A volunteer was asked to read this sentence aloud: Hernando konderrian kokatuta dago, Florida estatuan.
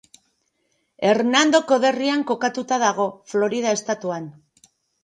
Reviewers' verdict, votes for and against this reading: rejected, 1, 2